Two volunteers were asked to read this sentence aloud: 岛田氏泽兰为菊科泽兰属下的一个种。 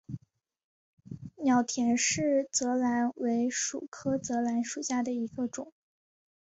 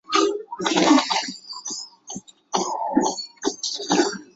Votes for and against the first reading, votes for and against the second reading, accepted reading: 2, 1, 0, 2, first